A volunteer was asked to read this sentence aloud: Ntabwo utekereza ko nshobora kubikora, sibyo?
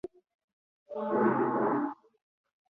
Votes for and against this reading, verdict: 0, 2, rejected